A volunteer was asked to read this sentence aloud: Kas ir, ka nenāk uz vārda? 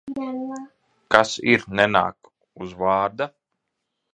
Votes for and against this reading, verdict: 0, 2, rejected